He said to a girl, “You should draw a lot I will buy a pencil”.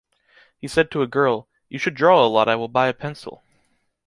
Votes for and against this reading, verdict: 2, 0, accepted